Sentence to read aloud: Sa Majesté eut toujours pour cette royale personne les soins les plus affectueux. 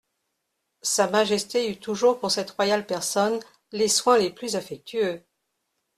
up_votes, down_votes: 3, 0